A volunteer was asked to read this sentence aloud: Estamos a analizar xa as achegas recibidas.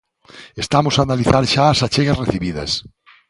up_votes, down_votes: 2, 0